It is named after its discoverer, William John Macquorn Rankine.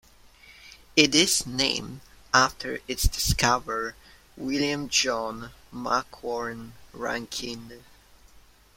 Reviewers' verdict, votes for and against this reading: rejected, 1, 2